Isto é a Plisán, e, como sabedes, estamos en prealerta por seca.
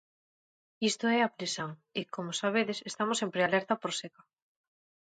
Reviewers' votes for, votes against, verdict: 2, 0, accepted